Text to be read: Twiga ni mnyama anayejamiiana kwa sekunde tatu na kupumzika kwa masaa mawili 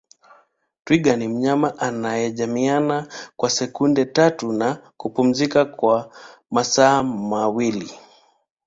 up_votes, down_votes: 2, 0